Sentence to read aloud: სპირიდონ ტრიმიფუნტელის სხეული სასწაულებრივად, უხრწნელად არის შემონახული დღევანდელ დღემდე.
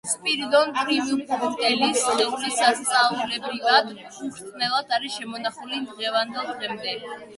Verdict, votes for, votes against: rejected, 1, 2